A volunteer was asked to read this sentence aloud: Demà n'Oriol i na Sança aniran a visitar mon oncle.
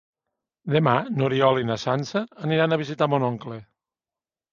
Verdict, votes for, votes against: accepted, 3, 0